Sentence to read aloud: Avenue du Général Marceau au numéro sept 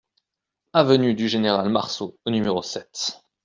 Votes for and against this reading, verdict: 2, 0, accepted